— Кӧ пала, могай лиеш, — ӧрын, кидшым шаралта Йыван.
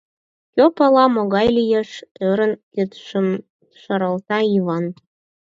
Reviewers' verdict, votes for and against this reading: accepted, 4, 0